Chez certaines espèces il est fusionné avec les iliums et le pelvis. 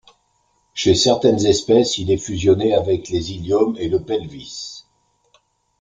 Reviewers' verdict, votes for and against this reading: accepted, 2, 0